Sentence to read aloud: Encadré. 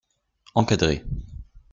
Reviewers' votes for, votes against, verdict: 2, 0, accepted